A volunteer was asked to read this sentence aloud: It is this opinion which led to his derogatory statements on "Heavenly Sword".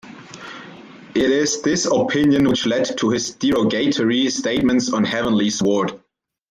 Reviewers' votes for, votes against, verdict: 2, 0, accepted